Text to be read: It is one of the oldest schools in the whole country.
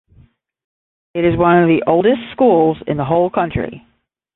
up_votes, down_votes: 10, 0